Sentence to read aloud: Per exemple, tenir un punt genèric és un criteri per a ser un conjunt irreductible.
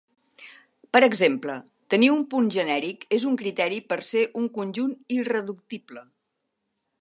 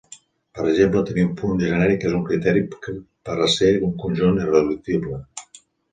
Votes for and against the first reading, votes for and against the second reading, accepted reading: 1, 2, 2, 0, second